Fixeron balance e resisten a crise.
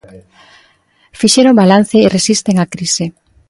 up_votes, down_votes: 2, 0